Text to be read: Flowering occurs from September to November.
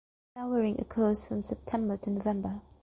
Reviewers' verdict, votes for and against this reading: accepted, 2, 0